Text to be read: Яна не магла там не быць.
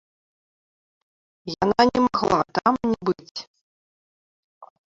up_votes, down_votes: 0, 2